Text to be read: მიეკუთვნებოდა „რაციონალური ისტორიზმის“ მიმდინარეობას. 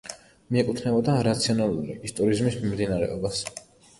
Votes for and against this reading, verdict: 2, 0, accepted